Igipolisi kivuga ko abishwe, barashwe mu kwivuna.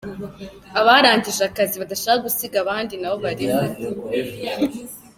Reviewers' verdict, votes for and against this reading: rejected, 0, 2